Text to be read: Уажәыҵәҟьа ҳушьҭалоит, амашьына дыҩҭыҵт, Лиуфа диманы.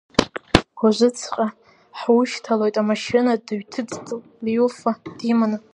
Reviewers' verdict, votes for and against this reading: rejected, 1, 2